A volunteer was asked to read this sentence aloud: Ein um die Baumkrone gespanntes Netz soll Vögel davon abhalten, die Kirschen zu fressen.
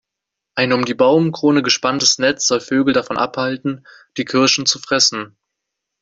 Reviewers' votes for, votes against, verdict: 2, 0, accepted